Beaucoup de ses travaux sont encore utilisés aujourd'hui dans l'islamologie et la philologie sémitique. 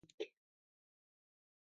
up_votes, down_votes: 0, 2